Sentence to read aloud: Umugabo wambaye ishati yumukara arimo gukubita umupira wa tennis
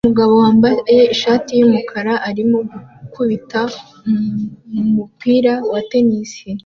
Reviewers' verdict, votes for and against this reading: accepted, 2, 0